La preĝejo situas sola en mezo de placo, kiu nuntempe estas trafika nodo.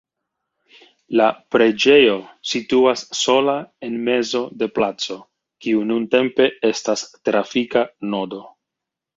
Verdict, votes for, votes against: accepted, 3, 1